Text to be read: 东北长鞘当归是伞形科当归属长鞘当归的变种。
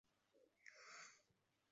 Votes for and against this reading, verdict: 1, 3, rejected